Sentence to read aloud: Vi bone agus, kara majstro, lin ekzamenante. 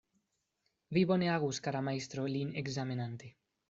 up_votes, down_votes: 2, 0